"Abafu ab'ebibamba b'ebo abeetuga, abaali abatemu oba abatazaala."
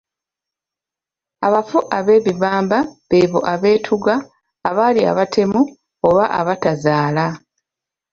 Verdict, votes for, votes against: rejected, 0, 2